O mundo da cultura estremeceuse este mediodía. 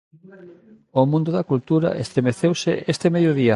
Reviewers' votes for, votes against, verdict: 0, 2, rejected